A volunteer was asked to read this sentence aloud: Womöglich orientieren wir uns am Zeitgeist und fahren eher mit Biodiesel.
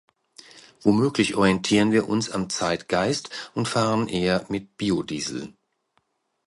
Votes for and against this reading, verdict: 2, 0, accepted